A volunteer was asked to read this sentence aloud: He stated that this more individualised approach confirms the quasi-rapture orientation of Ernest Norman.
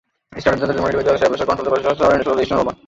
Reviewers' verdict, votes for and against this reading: rejected, 0, 2